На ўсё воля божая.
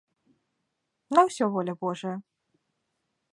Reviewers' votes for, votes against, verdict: 2, 0, accepted